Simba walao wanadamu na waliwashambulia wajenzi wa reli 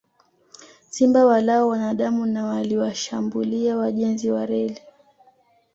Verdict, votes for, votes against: accepted, 2, 0